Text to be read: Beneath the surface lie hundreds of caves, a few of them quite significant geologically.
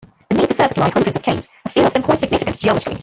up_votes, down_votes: 1, 3